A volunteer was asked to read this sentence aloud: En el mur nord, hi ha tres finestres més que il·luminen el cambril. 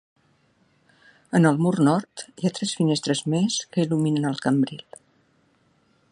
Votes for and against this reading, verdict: 4, 0, accepted